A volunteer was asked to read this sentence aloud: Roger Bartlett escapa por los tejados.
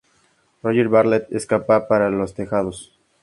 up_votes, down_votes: 2, 0